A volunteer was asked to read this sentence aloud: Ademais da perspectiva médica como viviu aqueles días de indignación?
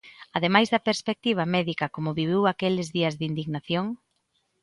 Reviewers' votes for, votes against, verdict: 2, 0, accepted